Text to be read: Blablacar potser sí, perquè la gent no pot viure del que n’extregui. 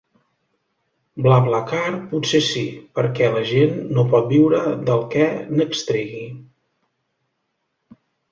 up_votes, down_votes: 2, 0